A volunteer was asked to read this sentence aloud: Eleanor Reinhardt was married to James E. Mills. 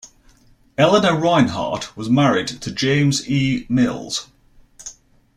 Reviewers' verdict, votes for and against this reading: accepted, 2, 0